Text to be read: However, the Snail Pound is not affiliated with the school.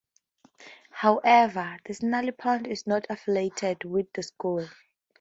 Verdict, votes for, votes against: rejected, 2, 2